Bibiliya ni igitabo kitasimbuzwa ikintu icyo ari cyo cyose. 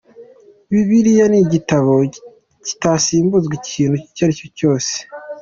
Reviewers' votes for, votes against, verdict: 2, 1, accepted